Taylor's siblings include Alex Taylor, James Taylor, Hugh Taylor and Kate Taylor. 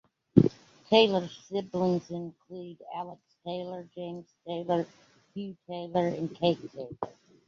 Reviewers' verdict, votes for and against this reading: rejected, 1, 2